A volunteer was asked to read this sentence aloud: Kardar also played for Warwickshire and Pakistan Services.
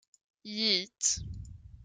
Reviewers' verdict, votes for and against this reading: rejected, 0, 2